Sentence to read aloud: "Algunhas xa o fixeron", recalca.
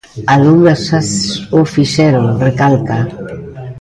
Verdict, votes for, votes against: rejected, 0, 2